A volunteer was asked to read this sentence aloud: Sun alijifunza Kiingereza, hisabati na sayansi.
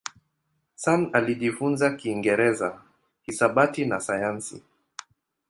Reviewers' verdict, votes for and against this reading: accepted, 2, 0